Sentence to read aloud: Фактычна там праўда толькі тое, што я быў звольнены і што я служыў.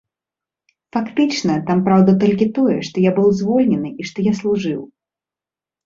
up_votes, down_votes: 2, 0